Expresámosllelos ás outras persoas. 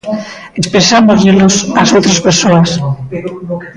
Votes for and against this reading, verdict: 0, 2, rejected